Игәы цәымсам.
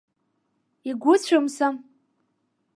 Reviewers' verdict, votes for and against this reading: rejected, 1, 2